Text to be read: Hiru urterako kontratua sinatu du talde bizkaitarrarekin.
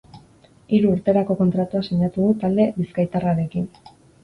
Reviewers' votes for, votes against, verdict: 2, 0, accepted